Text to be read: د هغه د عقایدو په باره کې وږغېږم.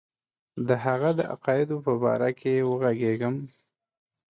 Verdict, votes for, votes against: accepted, 2, 0